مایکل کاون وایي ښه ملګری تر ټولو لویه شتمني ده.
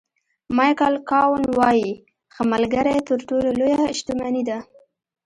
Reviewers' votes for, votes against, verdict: 2, 0, accepted